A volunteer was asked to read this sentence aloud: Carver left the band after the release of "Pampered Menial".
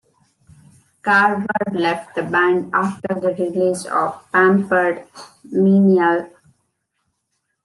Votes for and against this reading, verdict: 2, 0, accepted